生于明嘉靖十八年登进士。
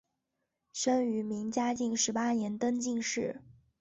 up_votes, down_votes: 5, 0